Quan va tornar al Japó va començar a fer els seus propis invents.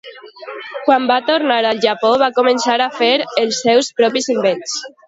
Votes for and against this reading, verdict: 2, 0, accepted